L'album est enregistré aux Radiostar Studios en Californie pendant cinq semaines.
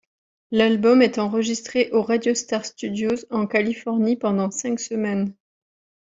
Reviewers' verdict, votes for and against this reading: accepted, 2, 0